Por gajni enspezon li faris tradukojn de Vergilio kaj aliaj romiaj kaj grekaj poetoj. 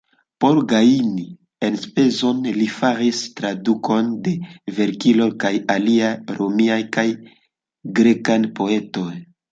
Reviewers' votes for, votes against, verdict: 2, 1, accepted